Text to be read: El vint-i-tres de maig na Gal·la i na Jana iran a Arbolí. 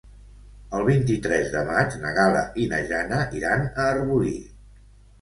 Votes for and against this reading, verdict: 2, 0, accepted